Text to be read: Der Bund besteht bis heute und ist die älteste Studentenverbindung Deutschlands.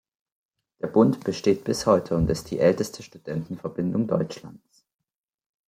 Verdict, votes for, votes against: rejected, 1, 2